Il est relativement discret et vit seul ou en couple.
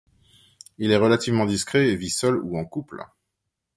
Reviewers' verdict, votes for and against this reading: accepted, 2, 0